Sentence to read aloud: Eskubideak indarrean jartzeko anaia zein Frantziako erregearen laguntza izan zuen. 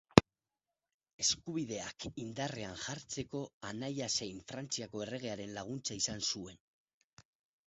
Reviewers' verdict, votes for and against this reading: rejected, 0, 4